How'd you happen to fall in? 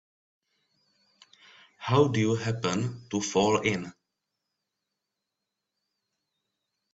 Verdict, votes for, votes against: rejected, 0, 2